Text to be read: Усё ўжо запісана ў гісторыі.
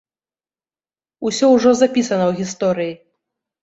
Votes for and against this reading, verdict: 0, 2, rejected